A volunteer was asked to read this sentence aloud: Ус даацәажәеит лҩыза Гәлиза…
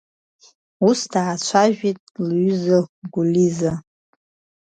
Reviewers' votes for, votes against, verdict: 2, 0, accepted